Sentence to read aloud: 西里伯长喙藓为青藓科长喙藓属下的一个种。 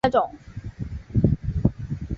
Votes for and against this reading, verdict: 0, 2, rejected